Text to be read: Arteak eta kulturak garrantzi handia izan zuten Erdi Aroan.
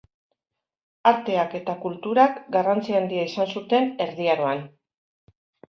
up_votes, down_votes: 2, 0